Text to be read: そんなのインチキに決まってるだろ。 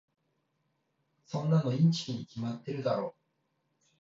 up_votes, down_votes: 1, 2